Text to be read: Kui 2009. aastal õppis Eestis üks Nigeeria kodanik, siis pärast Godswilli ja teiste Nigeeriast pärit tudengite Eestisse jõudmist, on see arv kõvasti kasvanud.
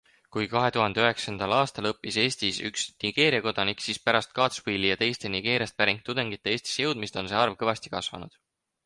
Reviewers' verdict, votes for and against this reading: rejected, 0, 2